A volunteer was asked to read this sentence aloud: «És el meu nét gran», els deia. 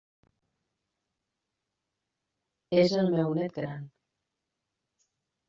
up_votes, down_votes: 0, 2